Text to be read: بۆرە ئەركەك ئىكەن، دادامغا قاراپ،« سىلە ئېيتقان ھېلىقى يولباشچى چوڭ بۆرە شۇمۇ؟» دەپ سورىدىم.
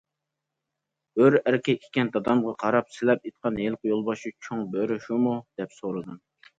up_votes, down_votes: 2, 0